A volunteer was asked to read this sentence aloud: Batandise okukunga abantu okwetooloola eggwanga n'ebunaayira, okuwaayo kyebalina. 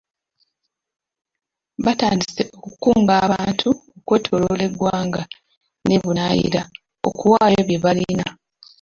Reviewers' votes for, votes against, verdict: 1, 2, rejected